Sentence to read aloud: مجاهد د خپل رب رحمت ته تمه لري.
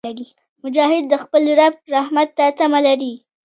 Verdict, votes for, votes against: rejected, 1, 2